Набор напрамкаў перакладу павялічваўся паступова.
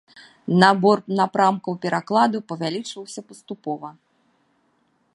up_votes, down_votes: 2, 0